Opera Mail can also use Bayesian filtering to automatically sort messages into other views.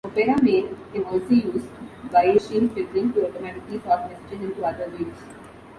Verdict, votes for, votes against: rejected, 1, 2